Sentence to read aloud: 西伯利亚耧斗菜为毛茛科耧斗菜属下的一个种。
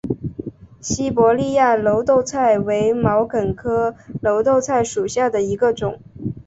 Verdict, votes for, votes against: accepted, 2, 1